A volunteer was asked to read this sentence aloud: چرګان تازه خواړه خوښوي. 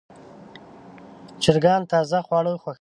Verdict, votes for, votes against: rejected, 0, 2